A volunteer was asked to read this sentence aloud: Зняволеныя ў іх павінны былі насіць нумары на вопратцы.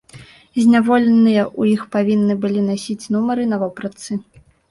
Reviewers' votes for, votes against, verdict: 0, 2, rejected